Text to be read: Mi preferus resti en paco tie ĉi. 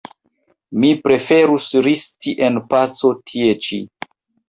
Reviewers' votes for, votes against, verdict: 1, 2, rejected